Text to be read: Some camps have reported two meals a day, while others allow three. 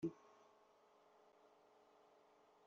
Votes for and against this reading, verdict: 0, 2, rejected